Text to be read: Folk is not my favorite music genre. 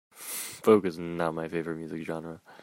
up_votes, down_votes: 1, 2